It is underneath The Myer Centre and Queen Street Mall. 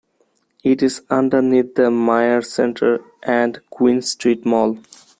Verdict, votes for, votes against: accepted, 2, 0